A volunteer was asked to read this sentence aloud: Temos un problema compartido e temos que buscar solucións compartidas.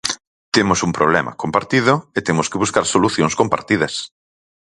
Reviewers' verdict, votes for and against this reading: accepted, 4, 0